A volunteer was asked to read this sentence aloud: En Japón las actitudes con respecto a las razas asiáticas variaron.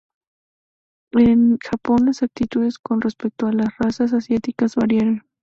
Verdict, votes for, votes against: rejected, 4, 4